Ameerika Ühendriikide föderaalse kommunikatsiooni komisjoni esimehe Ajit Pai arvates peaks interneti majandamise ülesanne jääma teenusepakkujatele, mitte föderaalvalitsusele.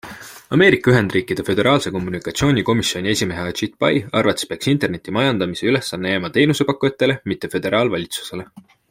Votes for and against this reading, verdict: 2, 0, accepted